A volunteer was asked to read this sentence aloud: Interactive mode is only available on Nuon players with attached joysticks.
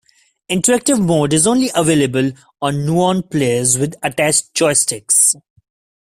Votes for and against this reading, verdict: 2, 0, accepted